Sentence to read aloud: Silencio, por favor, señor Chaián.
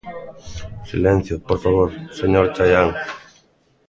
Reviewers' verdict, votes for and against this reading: rejected, 1, 2